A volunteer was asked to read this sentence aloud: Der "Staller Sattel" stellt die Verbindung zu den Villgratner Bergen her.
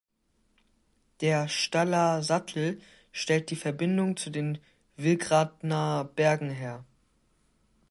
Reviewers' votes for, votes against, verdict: 2, 0, accepted